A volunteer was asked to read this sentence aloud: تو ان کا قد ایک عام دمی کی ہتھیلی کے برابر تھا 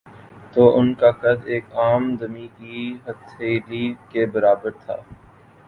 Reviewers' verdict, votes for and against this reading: accepted, 9, 1